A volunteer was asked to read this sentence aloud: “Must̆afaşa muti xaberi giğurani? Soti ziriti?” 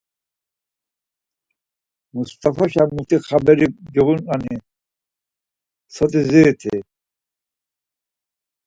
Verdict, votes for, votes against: accepted, 4, 0